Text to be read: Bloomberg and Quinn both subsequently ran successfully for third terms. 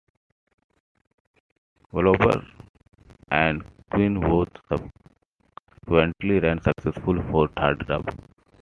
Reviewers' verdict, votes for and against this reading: rejected, 1, 2